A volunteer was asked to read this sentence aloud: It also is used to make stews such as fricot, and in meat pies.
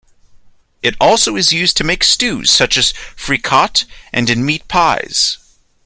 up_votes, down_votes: 2, 0